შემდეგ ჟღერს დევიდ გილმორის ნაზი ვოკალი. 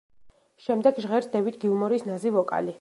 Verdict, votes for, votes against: accepted, 2, 0